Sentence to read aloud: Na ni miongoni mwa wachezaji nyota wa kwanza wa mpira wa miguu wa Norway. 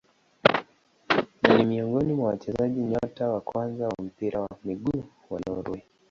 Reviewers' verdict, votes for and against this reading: rejected, 0, 2